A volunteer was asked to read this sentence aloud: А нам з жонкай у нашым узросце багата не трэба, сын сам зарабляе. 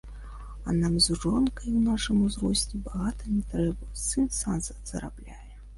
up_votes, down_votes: 2, 1